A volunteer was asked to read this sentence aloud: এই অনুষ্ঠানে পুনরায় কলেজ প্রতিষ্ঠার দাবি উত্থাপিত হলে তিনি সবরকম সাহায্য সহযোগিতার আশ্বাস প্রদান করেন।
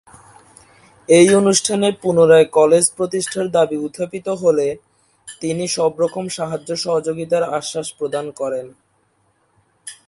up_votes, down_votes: 2, 0